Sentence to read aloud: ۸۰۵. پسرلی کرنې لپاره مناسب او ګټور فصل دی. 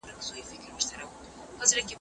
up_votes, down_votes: 0, 2